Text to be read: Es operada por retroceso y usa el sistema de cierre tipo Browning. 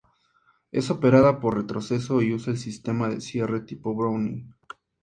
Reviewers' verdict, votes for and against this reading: accepted, 2, 0